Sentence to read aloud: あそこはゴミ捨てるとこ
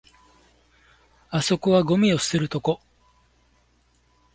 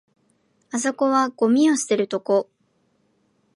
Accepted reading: second